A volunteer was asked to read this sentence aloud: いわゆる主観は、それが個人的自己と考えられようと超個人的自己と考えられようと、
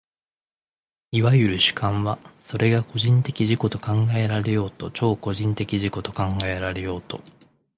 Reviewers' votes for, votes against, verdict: 4, 0, accepted